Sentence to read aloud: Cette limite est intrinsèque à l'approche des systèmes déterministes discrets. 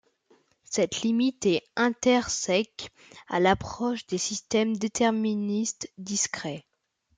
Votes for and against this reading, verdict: 0, 2, rejected